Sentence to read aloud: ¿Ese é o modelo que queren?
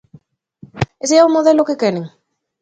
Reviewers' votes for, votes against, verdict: 2, 0, accepted